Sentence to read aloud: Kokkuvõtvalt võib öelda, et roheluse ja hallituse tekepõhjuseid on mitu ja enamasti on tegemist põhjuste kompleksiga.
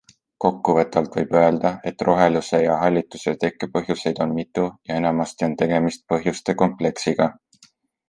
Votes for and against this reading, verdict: 2, 0, accepted